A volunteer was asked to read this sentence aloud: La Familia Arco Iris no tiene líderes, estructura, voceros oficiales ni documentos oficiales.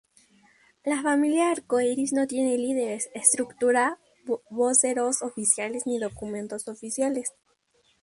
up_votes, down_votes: 4, 0